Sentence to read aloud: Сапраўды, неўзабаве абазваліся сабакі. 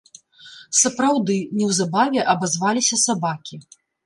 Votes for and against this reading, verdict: 2, 0, accepted